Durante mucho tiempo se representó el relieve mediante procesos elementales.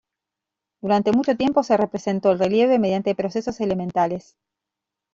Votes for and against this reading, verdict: 2, 1, accepted